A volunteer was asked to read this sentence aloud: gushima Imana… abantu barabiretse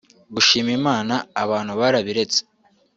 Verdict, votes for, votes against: accepted, 2, 0